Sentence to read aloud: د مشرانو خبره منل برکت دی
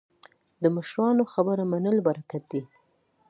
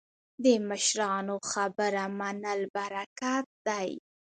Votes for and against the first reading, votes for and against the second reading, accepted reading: 2, 0, 0, 2, first